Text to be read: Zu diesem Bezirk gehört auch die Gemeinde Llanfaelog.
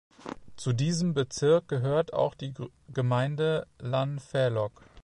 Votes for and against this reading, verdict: 0, 2, rejected